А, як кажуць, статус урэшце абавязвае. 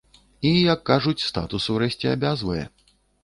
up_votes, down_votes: 0, 2